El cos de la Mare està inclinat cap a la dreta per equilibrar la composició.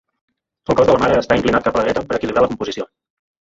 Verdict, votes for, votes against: rejected, 1, 2